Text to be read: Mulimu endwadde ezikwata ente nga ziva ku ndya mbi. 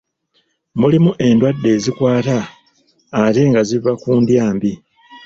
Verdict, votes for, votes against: rejected, 1, 2